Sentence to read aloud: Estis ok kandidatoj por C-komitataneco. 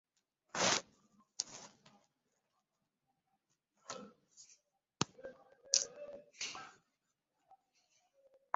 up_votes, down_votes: 0, 2